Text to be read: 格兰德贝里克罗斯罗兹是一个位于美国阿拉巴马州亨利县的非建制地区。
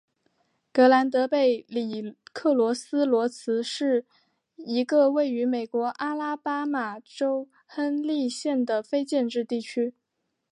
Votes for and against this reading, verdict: 3, 0, accepted